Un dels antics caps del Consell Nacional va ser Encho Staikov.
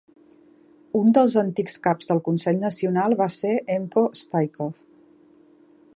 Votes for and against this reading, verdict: 2, 0, accepted